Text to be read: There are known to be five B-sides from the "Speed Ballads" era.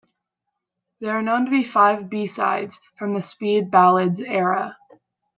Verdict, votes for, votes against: accepted, 2, 0